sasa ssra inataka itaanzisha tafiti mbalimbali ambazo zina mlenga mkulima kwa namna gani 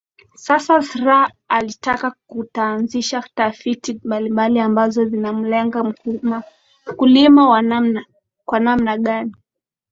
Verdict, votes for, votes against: rejected, 1, 3